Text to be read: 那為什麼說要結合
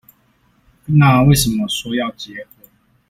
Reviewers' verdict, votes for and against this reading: rejected, 1, 2